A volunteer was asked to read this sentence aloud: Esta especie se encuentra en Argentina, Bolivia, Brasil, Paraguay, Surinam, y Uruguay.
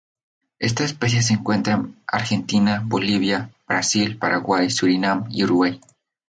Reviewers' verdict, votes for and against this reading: accepted, 2, 0